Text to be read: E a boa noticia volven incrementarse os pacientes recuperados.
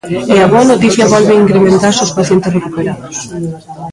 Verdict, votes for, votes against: rejected, 0, 2